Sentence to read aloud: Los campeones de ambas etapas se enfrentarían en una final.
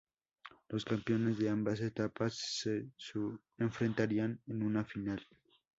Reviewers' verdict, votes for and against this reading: rejected, 0, 2